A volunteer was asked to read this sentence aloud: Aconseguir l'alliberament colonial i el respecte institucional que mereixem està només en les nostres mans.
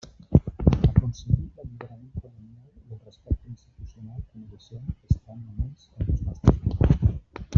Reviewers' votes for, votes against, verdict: 0, 2, rejected